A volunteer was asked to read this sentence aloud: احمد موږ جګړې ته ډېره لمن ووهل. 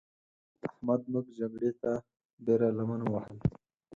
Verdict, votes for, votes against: rejected, 2, 4